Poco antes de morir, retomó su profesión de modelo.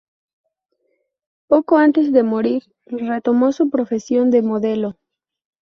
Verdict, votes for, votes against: rejected, 0, 2